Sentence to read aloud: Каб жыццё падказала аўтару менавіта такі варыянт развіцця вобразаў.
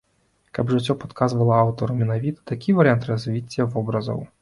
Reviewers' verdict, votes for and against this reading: rejected, 1, 2